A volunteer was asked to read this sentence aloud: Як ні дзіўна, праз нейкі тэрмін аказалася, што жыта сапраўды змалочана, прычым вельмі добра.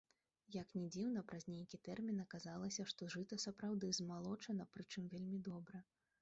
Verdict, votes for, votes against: rejected, 1, 2